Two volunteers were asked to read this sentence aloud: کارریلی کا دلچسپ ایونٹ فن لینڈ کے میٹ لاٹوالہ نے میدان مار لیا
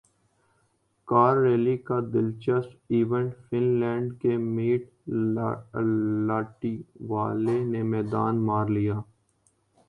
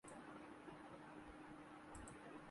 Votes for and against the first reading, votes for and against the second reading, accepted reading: 2, 1, 3, 11, first